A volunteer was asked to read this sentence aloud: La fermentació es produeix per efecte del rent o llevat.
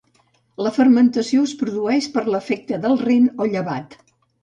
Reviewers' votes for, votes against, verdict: 0, 2, rejected